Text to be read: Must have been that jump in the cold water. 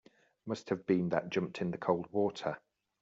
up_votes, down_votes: 1, 2